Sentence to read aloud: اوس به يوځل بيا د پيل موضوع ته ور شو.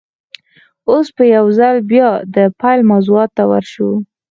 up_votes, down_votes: 4, 0